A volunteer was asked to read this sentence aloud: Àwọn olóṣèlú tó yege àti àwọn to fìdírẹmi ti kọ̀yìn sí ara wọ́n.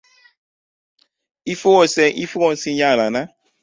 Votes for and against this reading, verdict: 0, 2, rejected